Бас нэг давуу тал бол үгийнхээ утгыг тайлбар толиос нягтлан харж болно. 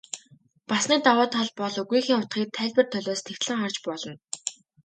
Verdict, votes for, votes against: accepted, 2, 0